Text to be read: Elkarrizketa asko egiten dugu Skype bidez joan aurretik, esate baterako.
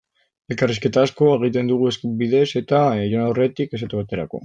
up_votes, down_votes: 0, 2